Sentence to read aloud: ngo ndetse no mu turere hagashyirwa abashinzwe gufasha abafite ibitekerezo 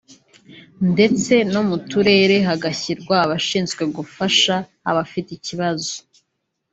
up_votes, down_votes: 0, 2